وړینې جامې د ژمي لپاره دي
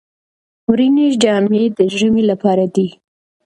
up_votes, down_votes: 0, 2